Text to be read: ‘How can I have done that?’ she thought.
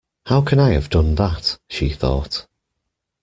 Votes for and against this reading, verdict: 2, 0, accepted